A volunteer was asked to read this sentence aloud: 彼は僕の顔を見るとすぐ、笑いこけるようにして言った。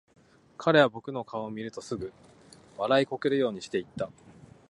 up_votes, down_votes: 2, 0